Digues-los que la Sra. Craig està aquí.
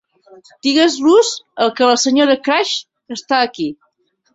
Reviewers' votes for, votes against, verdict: 1, 2, rejected